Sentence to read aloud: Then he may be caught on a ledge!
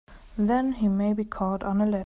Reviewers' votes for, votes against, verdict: 0, 2, rejected